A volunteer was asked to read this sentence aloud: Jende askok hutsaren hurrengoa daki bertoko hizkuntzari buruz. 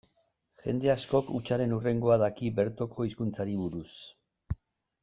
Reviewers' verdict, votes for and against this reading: accepted, 2, 0